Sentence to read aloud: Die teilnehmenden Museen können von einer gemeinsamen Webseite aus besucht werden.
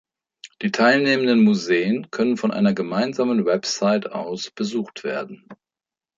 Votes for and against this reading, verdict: 0, 2, rejected